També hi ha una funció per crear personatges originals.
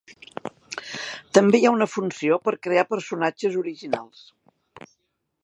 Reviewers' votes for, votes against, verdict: 3, 0, accepted